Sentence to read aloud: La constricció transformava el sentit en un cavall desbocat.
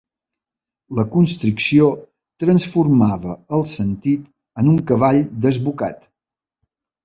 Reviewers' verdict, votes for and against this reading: accepted, 4, 0